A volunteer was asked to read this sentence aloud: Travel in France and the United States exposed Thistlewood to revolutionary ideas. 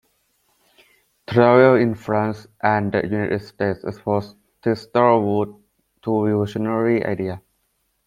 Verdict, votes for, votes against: rejected, 1, 2